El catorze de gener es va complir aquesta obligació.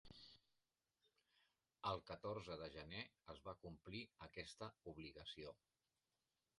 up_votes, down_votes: 1, 3